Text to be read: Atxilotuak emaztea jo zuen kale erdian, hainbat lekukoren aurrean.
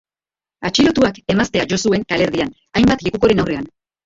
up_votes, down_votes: 1, 2